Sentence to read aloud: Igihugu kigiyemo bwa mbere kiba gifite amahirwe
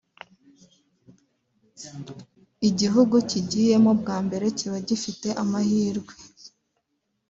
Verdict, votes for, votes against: accepted, 3, 0